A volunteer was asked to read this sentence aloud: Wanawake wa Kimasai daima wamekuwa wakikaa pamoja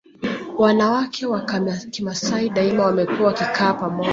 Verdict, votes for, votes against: rejected, 0, 2